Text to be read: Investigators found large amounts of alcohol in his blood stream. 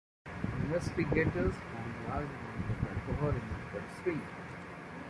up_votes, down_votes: 1, 2